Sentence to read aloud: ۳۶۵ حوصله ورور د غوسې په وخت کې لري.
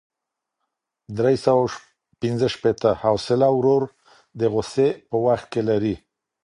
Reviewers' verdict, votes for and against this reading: rejected, 0, 2